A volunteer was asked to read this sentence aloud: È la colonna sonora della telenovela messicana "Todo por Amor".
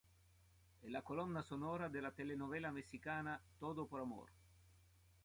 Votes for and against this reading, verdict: 2, 0, accepted